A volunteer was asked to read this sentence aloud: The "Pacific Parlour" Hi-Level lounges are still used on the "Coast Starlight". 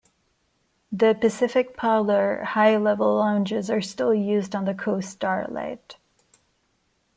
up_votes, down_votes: 2, 0